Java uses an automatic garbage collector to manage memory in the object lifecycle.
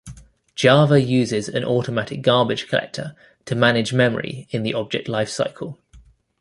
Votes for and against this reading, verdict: 2, 0, accepted